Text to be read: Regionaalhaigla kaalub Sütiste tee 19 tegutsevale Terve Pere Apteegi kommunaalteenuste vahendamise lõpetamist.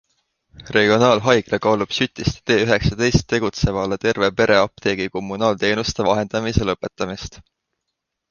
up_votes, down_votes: 0, 2